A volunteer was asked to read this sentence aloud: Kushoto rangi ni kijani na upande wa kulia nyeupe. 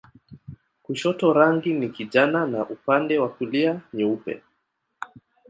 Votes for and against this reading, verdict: 0, 2, rejected